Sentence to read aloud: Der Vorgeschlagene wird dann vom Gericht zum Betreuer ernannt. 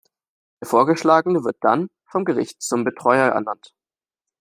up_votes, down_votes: 1, 2